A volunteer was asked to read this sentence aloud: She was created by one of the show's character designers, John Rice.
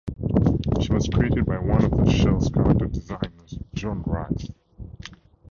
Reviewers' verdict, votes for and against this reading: rejected, 0, 2